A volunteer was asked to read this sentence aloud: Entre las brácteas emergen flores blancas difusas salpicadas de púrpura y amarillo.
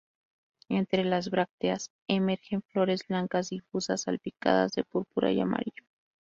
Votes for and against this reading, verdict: 2, 0, accepted